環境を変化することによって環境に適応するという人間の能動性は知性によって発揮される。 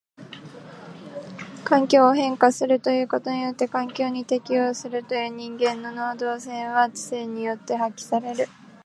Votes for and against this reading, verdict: 0, 2, rejected